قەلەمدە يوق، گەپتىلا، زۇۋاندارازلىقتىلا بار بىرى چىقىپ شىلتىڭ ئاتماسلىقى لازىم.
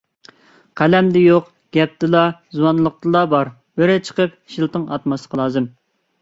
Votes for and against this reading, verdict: 1, 2, rejected